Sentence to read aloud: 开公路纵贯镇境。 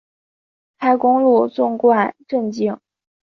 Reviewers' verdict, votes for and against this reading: accepted, 3, 1